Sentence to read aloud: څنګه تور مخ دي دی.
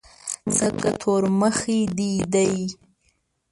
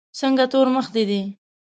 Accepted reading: second